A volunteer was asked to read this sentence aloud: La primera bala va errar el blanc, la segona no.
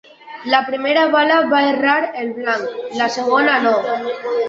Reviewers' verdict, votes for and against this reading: rejected, 1, 2